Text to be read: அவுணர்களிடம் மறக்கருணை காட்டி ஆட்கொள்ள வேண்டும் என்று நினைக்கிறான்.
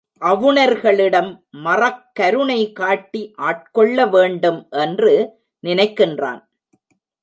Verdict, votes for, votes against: rejected, 1, 2